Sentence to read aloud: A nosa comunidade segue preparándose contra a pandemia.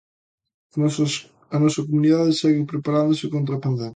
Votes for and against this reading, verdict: 0, 3, rejected